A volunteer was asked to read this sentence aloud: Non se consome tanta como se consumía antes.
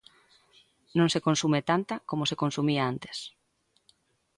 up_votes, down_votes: 0, 3